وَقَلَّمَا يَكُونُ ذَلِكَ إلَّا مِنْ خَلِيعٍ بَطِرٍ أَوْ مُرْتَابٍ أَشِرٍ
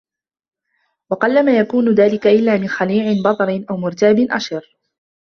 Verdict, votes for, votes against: accepted, 2, 1